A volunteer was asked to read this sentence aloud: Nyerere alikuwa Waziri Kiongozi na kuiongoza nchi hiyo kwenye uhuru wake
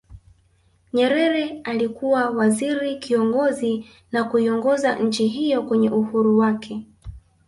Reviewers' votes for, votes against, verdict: 0, 2, rejected